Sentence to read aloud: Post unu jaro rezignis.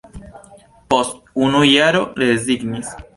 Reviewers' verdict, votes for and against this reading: accepted, 2, 0